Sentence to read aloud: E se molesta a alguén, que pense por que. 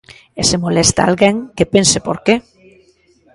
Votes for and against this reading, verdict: 1, 2, rejected